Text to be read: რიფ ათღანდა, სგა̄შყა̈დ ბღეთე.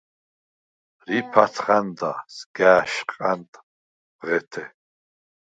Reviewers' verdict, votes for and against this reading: rejected, 2, 4